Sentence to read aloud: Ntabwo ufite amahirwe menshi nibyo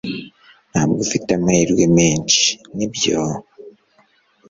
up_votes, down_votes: 2, 0